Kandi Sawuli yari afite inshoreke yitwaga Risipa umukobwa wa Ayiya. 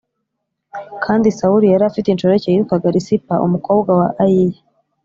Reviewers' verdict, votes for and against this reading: accepted, 2, 0